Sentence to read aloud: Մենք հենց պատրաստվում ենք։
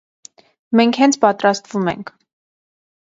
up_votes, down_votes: 2, 0